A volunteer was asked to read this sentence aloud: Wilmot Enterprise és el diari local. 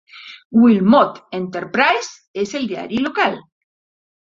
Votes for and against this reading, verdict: 4, 0, accepted